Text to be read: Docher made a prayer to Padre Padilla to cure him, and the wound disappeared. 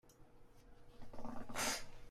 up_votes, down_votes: 0, 2